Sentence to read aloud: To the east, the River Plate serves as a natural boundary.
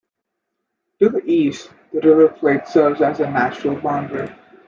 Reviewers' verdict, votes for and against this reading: rejected, 1, 2